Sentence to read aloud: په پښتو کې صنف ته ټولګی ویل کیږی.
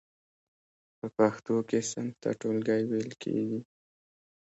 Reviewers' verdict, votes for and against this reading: accepted, 2, 0